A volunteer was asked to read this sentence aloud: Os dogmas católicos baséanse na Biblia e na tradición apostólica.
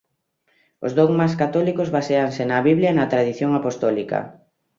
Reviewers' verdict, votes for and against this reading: rejected, 1, 2